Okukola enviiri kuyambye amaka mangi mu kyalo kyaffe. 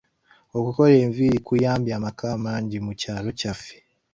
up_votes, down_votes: 2, 1